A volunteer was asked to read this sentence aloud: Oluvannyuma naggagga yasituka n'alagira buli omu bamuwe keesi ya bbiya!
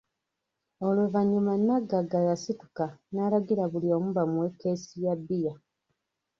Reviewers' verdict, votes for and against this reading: rejected, 1, 2